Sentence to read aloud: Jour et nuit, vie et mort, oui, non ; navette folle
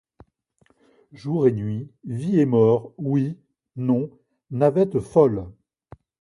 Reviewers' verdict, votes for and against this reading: accepted, 2, 0